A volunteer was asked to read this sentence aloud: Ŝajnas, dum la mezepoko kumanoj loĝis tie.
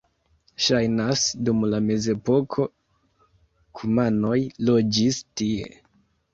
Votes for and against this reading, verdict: 2, 0, accepted